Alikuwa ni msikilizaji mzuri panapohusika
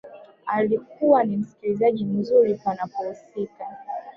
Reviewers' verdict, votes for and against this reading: rejected, 1, 2